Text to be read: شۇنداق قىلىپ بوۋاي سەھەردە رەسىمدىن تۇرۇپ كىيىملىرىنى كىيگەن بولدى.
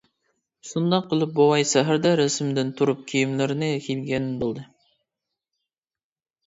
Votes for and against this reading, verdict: 0, 2, rejected